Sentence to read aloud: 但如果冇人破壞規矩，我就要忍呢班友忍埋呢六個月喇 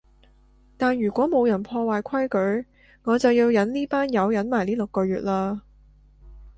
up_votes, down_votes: 2, 0